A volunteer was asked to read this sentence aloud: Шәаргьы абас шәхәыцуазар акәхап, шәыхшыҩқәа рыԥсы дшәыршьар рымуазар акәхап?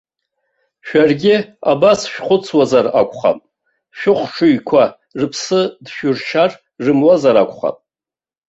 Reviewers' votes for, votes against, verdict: 2, 0, accepted